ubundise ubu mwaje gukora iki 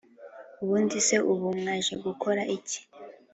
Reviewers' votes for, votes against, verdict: 3, 0, accepted